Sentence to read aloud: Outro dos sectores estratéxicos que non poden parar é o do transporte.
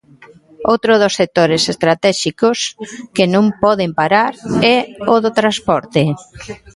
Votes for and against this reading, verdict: 0, 2, rejected